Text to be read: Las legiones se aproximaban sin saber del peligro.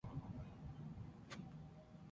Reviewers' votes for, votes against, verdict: 2, 0, accepted